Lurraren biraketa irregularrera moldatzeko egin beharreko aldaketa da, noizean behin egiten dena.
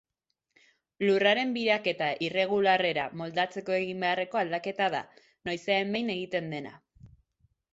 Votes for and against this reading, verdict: 2, 0, accepted